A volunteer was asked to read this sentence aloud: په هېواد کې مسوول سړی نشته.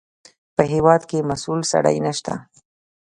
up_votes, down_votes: 2, 0